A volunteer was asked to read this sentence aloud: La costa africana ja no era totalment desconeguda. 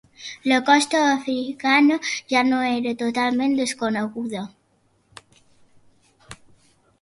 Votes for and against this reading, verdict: 2, 0, accepted